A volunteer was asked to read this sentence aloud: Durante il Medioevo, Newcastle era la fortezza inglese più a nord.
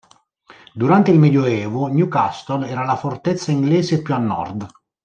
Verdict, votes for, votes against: accepted, 2, 0